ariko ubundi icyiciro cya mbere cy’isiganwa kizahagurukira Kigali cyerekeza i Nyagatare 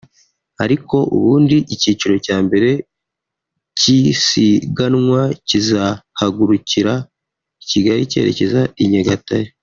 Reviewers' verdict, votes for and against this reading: rejected, 1, 2